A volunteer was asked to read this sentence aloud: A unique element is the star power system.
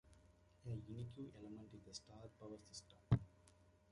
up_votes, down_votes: 0, 2